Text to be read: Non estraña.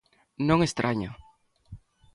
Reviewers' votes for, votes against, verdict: 2, 1, accepted